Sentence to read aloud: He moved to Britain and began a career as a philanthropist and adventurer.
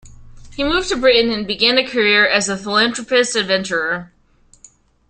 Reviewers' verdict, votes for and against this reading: rejected, 1, 3